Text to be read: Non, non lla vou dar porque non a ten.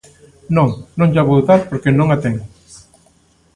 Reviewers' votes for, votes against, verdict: 2, 0, accepted